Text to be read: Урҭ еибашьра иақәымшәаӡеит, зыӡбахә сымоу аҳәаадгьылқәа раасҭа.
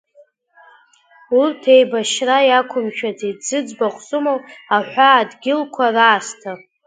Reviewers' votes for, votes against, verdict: 2, 0, accepted